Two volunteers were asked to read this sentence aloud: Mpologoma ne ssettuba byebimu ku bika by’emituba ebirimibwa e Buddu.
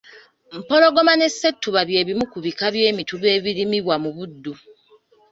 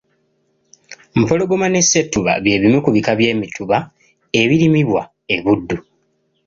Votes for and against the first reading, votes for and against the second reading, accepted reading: 0, 2, 2, 0, second